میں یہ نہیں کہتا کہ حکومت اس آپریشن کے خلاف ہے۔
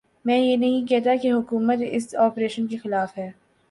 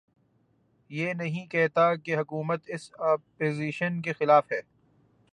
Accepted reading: first